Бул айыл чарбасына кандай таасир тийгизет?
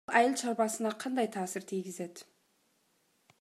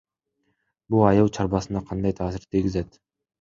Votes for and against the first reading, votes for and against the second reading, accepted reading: 0, 2, 2, 0, second